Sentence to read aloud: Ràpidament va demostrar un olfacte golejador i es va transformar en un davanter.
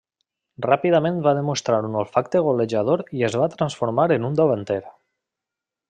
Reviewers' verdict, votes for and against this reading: accepted, 3, 0